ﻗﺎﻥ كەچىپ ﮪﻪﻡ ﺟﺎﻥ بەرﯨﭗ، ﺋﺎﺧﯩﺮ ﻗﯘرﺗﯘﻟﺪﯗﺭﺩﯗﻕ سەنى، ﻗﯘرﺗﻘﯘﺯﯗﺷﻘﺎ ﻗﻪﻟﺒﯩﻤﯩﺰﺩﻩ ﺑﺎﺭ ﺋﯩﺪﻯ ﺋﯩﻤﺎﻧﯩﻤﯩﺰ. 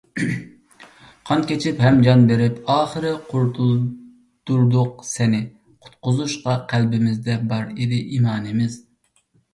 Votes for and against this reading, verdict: 0, 2, rejected